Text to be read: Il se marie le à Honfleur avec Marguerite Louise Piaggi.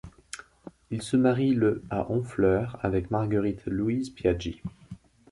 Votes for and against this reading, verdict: 2, 0, accepted